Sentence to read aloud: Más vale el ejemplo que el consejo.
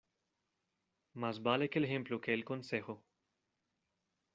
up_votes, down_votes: 1, 2